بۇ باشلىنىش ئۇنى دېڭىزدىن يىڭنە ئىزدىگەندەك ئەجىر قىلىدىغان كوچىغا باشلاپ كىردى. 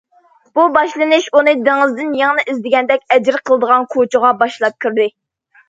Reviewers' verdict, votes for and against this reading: accepted, 2, 0